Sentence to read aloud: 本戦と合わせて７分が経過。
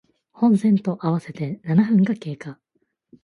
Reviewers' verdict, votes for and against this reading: rejected, 0, 2